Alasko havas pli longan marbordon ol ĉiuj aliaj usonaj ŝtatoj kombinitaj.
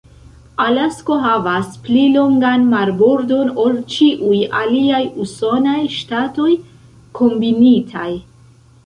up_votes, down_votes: 1, 2